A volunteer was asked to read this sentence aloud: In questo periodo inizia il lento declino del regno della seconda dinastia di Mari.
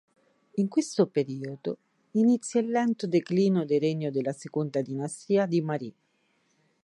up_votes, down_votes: 1, 2